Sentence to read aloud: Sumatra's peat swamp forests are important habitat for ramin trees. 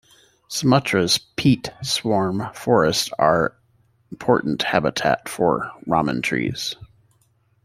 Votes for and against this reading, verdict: 0, 2, rejected